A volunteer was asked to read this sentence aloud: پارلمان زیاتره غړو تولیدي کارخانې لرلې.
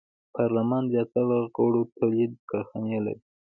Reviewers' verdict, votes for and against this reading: rejected, 0, 2